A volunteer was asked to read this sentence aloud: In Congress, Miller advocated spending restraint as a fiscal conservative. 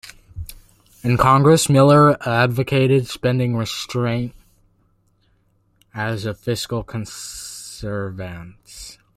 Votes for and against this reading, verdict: 0, 2, rejected